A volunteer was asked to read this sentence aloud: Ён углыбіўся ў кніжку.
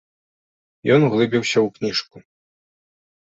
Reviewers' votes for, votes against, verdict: 3, 0, accepted